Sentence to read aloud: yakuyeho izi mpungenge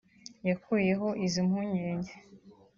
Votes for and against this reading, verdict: 1, 2, rejected